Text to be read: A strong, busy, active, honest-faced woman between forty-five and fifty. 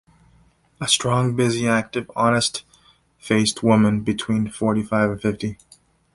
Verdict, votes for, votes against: accepted, 2, 0